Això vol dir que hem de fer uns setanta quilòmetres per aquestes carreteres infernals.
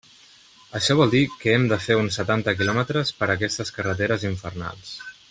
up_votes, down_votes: 3, 1